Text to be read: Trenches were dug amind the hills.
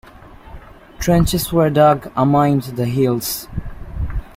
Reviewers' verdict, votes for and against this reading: rejected, 0, 2